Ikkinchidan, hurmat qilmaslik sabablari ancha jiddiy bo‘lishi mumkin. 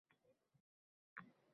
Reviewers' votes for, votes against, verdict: 0, 2, rejected